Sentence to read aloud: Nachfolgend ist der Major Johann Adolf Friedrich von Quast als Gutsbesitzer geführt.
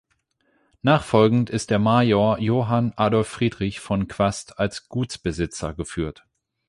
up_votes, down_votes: 8, 0